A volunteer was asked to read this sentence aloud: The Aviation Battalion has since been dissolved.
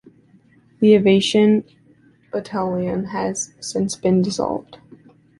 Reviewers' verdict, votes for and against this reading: rejected, 0, 2